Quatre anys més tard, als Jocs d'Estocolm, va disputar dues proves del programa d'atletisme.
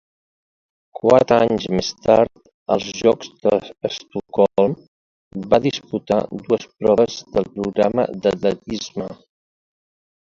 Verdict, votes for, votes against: rejected, 0, 2